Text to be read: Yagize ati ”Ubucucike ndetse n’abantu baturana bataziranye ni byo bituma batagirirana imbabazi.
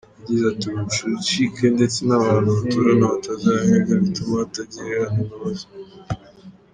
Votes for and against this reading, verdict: 1, 2, rejected